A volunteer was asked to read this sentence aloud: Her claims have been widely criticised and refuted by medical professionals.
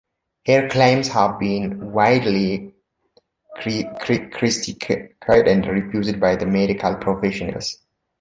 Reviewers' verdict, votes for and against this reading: rejected, 1, 2